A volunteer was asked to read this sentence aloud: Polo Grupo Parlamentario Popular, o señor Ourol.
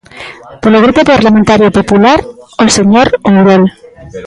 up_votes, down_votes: 1, 2